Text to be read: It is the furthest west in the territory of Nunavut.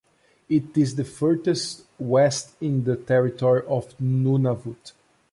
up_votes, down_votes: 0, 2